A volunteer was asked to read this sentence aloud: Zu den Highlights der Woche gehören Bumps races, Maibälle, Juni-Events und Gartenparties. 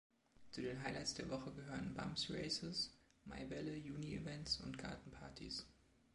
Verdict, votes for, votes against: accepted, 2, 0